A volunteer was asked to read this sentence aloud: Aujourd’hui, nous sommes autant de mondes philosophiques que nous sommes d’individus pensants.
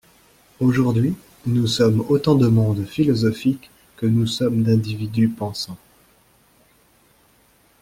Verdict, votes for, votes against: accepted, 2, 0